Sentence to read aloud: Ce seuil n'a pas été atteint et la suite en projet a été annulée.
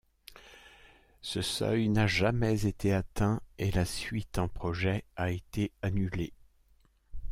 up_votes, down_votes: 0, 2